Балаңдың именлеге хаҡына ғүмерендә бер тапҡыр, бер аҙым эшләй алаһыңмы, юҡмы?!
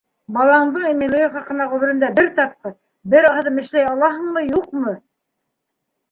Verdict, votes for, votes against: rejected, 1, 2